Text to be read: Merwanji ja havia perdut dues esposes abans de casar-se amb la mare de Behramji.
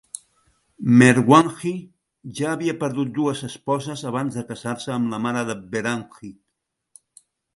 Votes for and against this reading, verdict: 2, 0, accepted